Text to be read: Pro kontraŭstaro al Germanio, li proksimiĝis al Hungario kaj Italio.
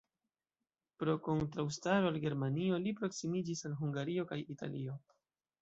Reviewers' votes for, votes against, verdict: 2, 0, accepted